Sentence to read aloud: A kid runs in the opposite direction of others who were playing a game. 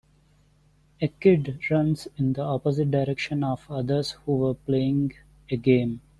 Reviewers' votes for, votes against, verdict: 1, 2, rejected